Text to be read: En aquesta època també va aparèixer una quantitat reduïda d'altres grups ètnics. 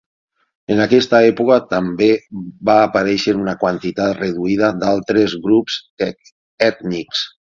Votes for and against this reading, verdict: 3, 9, rejected